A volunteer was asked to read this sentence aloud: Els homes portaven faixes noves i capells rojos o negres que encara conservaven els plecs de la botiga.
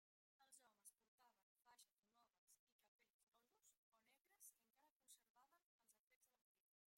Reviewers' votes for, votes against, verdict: 0, 2, rejected